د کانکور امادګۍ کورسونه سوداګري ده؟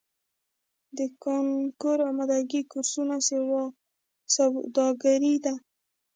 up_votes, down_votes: 1, 2